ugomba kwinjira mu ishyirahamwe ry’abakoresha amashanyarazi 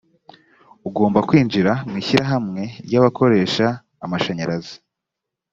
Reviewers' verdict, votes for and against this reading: accepted, 2, 0